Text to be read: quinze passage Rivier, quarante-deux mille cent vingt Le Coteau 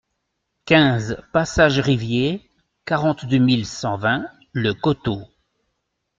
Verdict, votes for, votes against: accepted, 2, 0